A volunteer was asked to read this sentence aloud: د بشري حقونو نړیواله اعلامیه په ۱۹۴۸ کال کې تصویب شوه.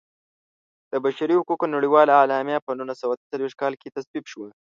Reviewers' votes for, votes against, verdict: 0, 2, rejected